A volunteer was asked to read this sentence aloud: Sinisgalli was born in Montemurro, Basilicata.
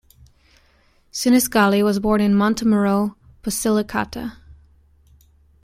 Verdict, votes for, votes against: accepted, 2, 0